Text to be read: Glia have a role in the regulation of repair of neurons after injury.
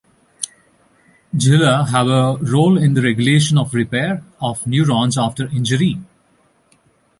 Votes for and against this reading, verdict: 0, 2, rejected